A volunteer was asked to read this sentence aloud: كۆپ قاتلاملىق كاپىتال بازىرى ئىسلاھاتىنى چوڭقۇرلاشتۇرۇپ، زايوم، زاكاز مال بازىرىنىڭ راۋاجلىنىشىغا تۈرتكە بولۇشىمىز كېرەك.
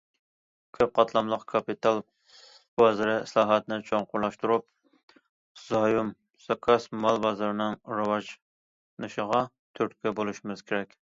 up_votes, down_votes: 1, 2